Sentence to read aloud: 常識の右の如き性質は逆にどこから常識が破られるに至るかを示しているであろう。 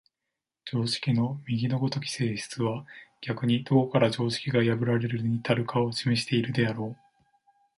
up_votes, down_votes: 1, 2